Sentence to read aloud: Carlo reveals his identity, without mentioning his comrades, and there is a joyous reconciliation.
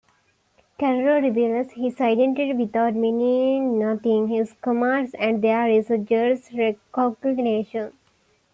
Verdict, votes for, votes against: rejected, 1, 2